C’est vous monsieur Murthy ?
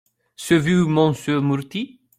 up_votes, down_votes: 0, 2